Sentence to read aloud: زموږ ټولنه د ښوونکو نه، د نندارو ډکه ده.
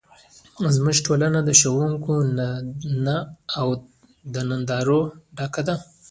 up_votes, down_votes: 0, 2